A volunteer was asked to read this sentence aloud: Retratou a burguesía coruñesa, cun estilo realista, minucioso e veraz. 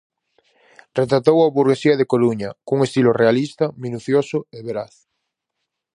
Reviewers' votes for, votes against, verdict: 0, 4, rejected